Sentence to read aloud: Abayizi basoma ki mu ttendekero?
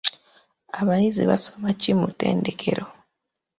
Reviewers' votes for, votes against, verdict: 2, 0, accepted